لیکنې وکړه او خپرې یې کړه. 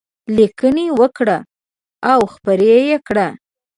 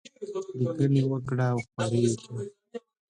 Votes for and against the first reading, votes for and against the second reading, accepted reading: 2, 0, 1, 2, first